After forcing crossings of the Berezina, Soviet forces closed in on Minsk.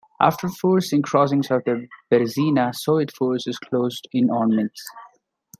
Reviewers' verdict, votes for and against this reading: accepted, 2, 1